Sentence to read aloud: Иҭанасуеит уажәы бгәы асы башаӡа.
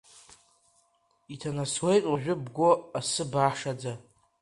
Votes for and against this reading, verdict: 1, 2, rejected